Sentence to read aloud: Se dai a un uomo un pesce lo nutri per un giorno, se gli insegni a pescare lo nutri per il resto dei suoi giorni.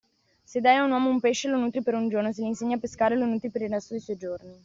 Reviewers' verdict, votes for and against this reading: accepted, 2, 0